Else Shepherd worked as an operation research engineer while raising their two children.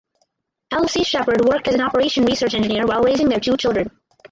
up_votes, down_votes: 0, 4